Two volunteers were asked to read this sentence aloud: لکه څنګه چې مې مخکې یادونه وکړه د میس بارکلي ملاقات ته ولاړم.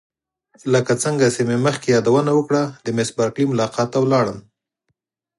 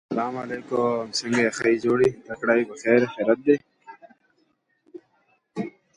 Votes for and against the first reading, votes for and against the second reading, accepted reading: 4, 0, 0, 2, first